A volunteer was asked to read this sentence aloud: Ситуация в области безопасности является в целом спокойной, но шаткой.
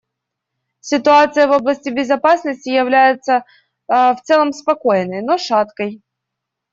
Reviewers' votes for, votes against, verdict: 2, 0, accepted